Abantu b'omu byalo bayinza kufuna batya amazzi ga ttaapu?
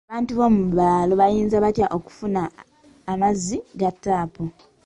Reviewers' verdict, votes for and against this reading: rejected, 0, 2